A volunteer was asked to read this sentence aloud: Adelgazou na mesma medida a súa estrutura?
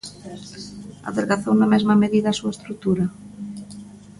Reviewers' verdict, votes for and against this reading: accepted, 3, 0